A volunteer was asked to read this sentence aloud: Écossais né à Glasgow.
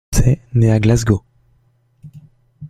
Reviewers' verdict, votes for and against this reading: rejected, 0, 2